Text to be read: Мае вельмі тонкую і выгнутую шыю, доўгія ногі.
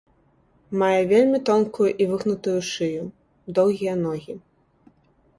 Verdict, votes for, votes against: accepted, 2, 0